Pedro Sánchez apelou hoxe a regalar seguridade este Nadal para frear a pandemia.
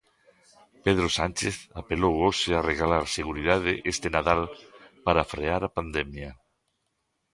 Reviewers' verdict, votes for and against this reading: accepted, 2, 0